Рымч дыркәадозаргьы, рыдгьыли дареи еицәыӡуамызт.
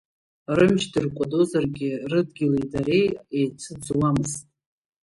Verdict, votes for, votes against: rejected, 1, 2